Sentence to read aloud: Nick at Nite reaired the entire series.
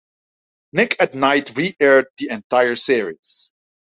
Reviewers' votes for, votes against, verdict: 3, 0, accepted